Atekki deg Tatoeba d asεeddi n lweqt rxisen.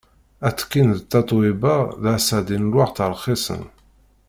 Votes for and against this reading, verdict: 1, 2, rejected